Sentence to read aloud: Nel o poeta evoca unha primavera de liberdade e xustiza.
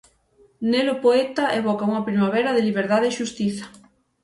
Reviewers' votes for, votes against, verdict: 6, 0, accepted